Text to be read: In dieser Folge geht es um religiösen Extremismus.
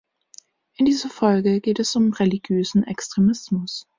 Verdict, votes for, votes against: accepted, 2, 0